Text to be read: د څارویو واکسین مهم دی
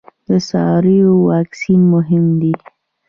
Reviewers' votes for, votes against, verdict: 2, 0, accepted